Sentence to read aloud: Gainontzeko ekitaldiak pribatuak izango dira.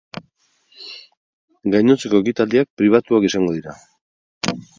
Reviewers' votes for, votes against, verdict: 2, 2, rejected